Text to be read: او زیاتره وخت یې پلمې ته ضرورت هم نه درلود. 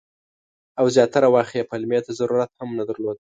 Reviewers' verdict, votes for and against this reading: accepted, 2, 0